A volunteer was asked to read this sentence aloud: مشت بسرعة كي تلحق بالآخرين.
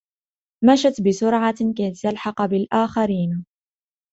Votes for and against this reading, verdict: 2, 0, accepted